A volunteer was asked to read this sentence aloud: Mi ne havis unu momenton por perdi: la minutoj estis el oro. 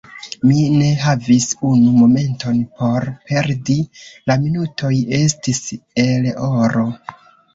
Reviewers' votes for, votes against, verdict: 3, 1, accepted